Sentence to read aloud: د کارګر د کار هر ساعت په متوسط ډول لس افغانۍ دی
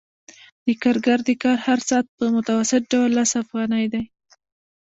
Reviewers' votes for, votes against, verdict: 1, 2, rejected